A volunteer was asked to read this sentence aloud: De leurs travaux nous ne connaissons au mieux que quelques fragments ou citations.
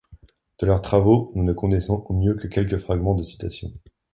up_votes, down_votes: 0, 2